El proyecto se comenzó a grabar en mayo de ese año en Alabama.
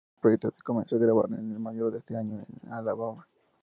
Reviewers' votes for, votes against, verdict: 0, 4, rejected